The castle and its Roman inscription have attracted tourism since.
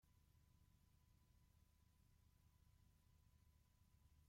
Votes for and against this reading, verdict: 0, 2, rejected